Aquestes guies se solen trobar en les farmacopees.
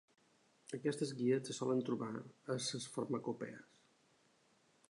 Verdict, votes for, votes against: accepted, 2, 0